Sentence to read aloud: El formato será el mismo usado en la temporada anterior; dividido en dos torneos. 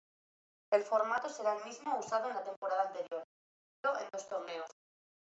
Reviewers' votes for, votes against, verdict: 1, 2, rejected